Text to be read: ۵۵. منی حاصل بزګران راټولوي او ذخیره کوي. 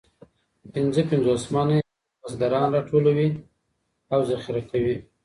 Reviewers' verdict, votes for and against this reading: rejected, 0, 2